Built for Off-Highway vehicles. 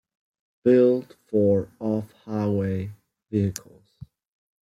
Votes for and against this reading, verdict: 2, 0, accepted